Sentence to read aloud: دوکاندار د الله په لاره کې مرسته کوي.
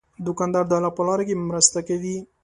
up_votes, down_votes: 2, 0